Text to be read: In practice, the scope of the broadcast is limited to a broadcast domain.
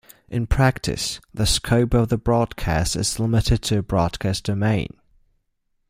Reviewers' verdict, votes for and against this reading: accepted, 2, 1